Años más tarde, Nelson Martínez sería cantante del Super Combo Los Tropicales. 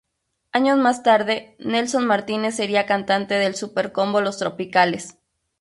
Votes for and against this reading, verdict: 0, 2, rejected